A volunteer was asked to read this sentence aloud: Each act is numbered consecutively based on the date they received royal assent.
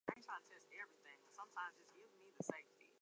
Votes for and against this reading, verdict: 0, 4, rejected